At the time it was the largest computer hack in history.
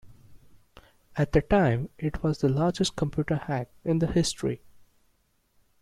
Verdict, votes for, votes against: rejected, 0, 2